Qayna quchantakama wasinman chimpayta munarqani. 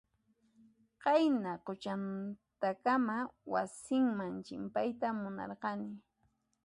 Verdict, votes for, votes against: accepted, 2, 0